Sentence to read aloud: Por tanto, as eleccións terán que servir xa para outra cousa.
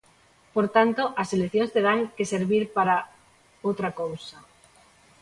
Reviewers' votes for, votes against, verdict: 0, 2, rejected